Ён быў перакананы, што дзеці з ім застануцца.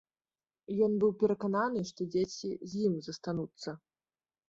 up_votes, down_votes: 2, 1